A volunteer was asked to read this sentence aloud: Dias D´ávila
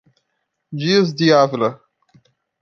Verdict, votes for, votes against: rejected, 0, 2